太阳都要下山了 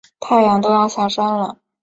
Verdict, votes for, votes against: accepted, 2, 0